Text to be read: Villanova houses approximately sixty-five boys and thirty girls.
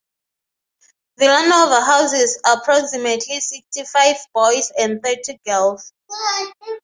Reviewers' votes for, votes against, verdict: 6, 0, accepted